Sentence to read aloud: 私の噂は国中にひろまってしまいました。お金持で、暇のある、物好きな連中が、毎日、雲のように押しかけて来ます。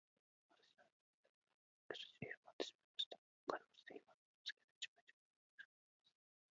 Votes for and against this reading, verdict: 0, 2, rejected